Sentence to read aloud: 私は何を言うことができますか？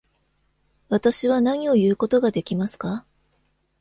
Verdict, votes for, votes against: accepted, 2, 0